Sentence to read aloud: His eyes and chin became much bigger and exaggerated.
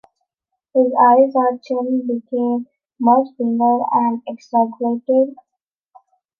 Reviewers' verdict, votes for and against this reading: accepted, 2, 1